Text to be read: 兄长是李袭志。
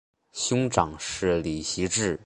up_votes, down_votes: 3, 0